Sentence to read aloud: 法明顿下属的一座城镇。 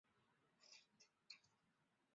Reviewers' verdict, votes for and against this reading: rejected, 0, 3